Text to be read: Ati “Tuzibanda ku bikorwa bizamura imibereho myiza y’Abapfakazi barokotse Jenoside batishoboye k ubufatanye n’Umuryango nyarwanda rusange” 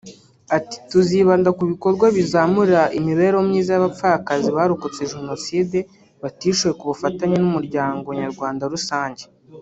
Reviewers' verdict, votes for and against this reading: rejected, 1, 2